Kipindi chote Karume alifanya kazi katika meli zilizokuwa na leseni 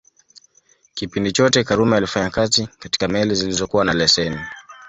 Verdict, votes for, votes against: accepted, 2, 0